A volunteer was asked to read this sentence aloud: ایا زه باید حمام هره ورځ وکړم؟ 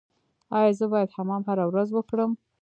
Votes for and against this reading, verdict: 2, 0, accepted